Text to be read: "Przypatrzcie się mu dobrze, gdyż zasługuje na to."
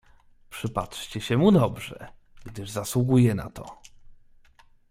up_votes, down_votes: 2, 0